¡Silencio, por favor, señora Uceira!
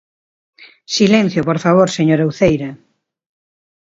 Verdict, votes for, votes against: accepted, 2, 0